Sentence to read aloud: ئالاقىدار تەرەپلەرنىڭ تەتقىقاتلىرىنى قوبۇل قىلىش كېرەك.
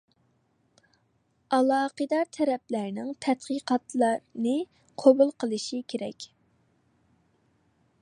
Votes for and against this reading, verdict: 0, 2, rejected